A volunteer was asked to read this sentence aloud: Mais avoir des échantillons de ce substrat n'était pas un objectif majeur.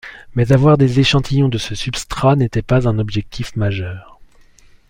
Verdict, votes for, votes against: accepted, 2, 0